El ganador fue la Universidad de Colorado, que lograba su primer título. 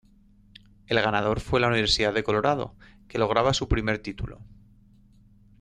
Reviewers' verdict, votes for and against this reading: accepted, 2, 0